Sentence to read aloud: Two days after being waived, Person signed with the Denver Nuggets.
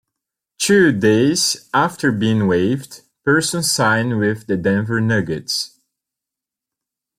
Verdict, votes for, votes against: accepted, 2, 1